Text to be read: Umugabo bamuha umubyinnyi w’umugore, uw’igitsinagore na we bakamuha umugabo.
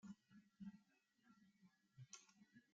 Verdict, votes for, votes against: rejected, 0, 2